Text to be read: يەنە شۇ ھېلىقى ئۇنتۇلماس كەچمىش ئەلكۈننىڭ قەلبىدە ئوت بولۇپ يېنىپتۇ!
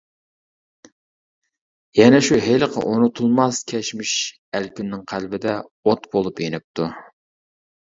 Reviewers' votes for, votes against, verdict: 1, 2, rejected